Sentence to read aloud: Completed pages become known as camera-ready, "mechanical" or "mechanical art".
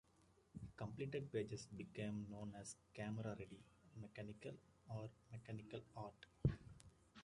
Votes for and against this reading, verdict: 0, 2, rejected